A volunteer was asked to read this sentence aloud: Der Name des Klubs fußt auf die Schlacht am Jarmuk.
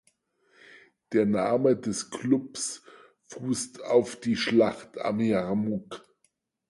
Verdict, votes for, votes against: accepted, 4, 0